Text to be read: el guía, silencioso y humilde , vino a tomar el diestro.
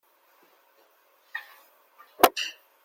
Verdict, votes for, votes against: rejected, 0, 2